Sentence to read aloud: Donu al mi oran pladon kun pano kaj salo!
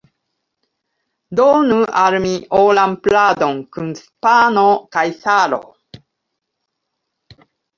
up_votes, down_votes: 0, 2